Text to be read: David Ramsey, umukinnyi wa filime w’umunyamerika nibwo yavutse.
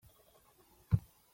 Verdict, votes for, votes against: rejected, 0, 2